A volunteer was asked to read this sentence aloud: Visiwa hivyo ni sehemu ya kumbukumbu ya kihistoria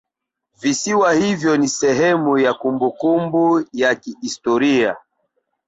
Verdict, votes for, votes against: rejected, 1, 2